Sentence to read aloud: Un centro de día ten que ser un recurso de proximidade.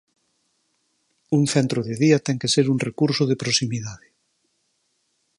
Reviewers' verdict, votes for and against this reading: rejected, 2, 2